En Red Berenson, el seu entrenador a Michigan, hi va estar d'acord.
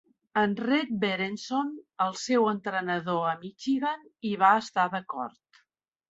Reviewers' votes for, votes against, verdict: 3, 0, accepted